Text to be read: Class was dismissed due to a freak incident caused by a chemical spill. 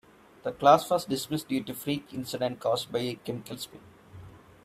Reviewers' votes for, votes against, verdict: 1, 2, rejected